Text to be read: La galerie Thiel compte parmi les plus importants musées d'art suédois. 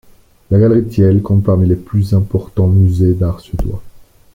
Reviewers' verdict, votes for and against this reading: accepted, 2, 1